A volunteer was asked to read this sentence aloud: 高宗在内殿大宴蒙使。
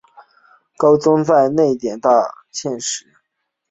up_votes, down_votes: 4, 0